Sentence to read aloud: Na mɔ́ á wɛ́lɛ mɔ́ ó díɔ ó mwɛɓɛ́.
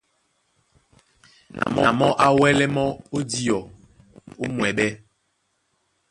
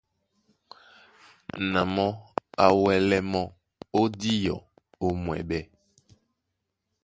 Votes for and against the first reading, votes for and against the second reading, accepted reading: 1, 2, 3, 0, second